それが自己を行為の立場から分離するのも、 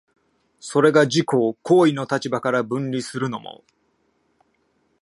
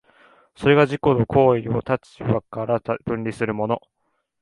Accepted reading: first